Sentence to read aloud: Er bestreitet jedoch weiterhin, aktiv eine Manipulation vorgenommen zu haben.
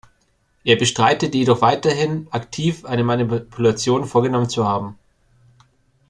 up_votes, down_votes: 1, 2